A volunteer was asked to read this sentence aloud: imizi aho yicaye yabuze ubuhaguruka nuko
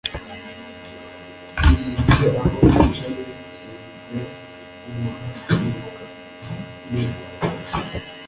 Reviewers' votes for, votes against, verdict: 1, 2, rejected